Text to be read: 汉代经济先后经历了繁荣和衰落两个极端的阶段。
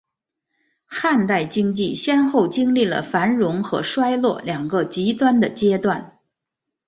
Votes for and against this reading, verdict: 7, 0, accepted